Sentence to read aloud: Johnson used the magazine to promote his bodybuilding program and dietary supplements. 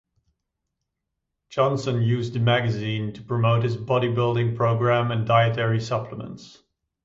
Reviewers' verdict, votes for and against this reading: accepted, 2, 0